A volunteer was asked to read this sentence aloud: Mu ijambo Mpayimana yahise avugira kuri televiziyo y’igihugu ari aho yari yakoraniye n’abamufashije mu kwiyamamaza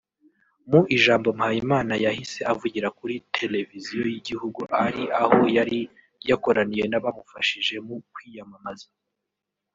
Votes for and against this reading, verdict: 0, 2, rejected